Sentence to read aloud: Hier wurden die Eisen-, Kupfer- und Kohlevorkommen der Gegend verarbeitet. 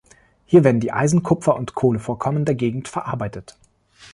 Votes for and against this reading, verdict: 0, 3, rejected